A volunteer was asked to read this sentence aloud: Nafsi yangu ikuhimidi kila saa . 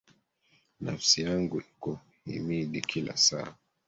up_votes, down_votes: 1, 2